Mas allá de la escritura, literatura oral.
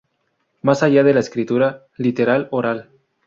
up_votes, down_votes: 0, 2